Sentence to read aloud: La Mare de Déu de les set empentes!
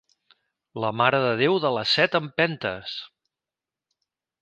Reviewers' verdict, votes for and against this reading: accepted, 2, 0